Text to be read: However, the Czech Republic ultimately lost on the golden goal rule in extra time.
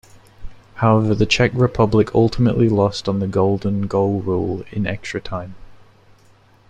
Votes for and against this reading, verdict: 2, 0, accepted